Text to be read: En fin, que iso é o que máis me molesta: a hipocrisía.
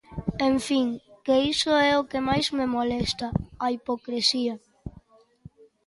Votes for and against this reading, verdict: 1, 2, rejected